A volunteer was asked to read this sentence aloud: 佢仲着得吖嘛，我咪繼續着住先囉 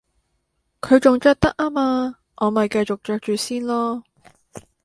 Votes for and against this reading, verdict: 2, 0, accepted